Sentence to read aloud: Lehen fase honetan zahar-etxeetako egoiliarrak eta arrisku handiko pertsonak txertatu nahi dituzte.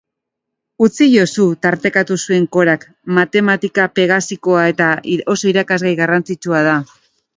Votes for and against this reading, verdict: 0, 2, rejected